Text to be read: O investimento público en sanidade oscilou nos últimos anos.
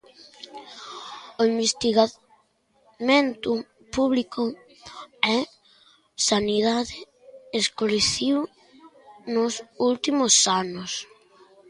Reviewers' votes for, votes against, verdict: 0, 2, rejected